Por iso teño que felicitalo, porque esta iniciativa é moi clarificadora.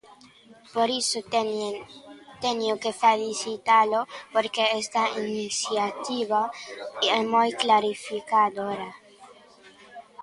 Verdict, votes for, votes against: rejected, 0, 2